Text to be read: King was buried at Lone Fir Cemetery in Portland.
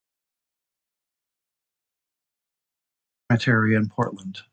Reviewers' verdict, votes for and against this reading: rejected, 0, 2